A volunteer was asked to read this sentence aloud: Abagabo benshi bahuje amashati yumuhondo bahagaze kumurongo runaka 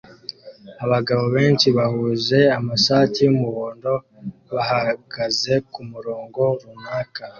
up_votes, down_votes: 0, 2